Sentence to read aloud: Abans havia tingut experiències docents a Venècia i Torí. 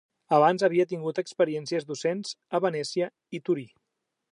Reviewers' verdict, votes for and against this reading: accepted, 2, 0